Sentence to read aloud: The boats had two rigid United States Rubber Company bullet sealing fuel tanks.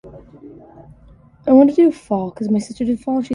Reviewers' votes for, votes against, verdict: 0, 6, rejected